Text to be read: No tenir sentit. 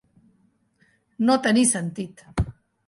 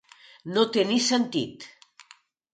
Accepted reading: first